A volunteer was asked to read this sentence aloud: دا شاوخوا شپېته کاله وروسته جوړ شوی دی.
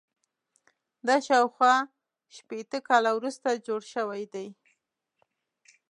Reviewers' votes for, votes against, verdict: 2, 0, accepted